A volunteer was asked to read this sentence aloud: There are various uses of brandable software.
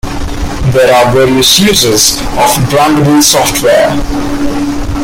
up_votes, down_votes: 2, 0